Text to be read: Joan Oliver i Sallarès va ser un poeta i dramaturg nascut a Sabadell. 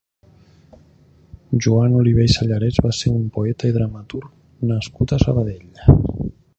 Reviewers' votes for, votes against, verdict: 3, 1, accepted